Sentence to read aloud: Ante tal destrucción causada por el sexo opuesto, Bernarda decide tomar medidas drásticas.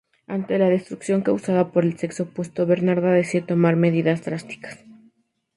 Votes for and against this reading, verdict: 2, 0, accepted